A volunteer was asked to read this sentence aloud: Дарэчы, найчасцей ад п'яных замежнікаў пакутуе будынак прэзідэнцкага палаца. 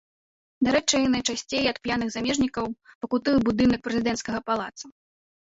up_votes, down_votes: 0, 2